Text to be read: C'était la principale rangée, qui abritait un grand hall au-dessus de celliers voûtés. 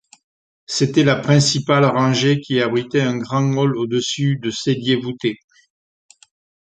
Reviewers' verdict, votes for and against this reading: accepted, 2, 1